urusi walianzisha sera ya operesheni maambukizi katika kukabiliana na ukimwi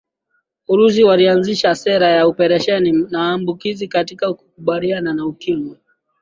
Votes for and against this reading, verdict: 2, 0, accepted